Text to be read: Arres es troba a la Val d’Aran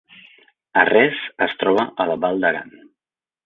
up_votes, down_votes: 1, 2